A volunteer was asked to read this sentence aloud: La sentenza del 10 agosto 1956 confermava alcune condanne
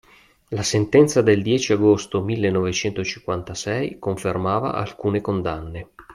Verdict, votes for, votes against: rejected, 0, 2